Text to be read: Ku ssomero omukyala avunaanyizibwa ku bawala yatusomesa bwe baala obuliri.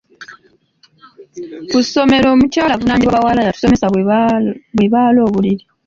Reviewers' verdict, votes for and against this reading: rejected, 0, 2